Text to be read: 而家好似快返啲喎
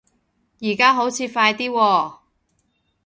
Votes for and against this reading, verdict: 0, 2, rejected